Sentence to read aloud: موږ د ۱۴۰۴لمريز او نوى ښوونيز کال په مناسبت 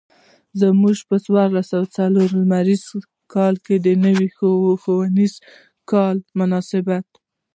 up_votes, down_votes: 0, 2